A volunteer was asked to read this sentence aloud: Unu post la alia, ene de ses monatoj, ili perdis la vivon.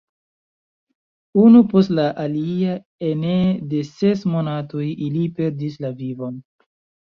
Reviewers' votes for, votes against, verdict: 2, 0, accepted